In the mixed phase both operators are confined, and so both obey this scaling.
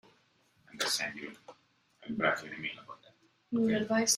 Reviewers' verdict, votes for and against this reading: rejected, 0, 2